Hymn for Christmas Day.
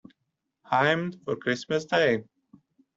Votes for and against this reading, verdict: 1, 2, rejected